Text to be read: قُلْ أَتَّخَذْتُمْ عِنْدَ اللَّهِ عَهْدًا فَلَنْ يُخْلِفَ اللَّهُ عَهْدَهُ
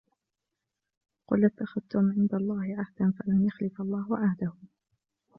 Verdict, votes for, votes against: rejected, 1, 2